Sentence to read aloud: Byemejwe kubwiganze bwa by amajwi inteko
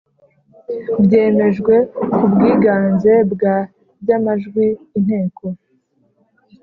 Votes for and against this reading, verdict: 2, 0, accepted